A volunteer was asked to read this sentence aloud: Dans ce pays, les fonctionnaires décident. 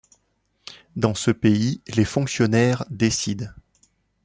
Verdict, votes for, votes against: accepted, 2, 0